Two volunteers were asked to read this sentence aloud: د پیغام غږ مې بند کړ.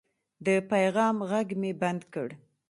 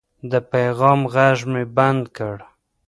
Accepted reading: first